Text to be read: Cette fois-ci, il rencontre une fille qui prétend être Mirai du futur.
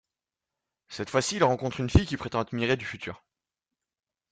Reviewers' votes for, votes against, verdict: 1, 2, rejected